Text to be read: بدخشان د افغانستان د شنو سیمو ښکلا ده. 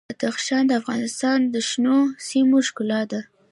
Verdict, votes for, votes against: accepted, 2, 0